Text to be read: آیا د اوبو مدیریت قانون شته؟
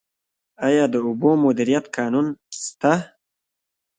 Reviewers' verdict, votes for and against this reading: rejected, 1, 2